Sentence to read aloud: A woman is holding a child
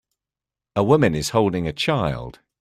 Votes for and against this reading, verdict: 2, 0, accepted